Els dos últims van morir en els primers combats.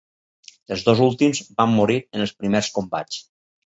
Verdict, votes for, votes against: accepted, 4, 0